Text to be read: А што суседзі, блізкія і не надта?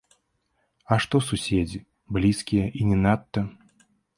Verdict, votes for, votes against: accepted, 2, 0